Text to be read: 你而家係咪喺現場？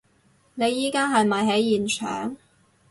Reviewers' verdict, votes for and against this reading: rejected, 2, 2